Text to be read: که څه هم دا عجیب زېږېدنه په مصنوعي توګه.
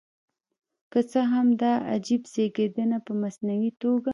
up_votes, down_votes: 2, 3